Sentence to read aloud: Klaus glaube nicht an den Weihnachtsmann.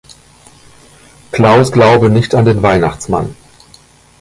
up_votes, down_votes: 1, 2